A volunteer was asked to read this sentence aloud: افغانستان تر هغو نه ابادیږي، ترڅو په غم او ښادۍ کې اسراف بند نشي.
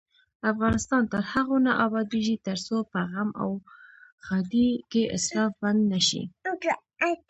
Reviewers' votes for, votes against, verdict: 1, 2, rejected